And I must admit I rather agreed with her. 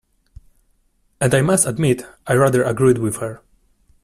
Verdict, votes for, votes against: accepted, 2, 0